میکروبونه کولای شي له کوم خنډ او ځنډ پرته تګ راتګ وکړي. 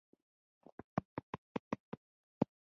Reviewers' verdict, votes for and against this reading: rejected, 0, 3